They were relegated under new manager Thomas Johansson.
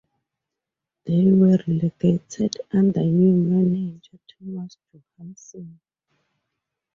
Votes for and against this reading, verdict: 4, 0, accepted